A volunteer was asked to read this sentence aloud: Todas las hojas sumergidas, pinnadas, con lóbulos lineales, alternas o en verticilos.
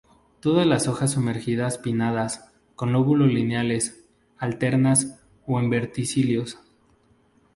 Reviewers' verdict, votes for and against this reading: rejected, 0, 2